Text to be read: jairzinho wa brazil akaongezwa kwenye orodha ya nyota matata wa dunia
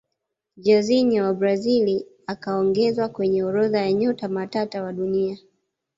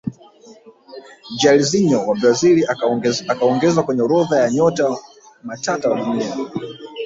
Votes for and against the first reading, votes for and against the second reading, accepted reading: 2, 0, 1, 2, first